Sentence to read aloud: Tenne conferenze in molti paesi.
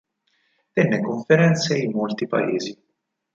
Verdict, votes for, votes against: accepted, 4, 0